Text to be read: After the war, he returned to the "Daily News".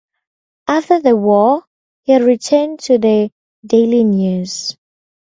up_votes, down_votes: 4, 0